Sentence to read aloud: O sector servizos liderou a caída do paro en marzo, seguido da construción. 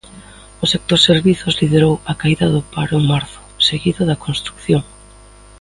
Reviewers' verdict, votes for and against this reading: accepted, 2, 1